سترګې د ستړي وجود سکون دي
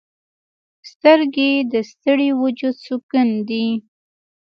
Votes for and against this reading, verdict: 1, 2, rejected